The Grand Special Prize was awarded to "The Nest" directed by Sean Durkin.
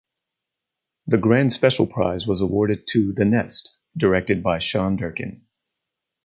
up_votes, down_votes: 4, 0